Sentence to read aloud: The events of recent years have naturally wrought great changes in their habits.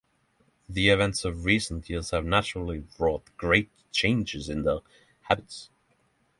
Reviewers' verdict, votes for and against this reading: accepted, 6, 3